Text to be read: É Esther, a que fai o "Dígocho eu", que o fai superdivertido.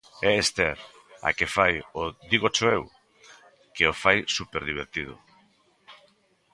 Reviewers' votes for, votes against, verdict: 2, 1, accepted